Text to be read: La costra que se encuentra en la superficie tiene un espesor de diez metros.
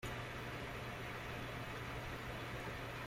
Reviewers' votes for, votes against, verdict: 0, 2, rejected